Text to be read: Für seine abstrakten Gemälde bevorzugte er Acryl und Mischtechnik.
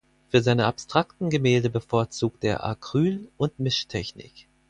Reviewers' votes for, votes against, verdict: 4, 0, accepted